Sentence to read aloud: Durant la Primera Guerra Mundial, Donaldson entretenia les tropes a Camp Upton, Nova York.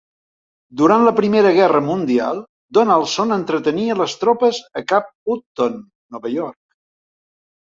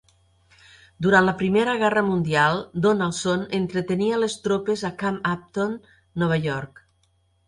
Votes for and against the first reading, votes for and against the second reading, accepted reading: 1, 2, 3, 0, second